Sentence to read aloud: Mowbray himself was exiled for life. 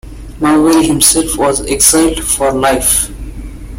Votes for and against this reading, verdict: 2, 1, accepted